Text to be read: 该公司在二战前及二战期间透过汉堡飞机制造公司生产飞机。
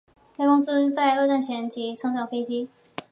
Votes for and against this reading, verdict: 2, 3, rejected